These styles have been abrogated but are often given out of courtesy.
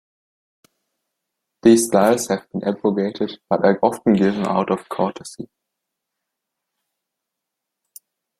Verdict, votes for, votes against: rejected, 1, 2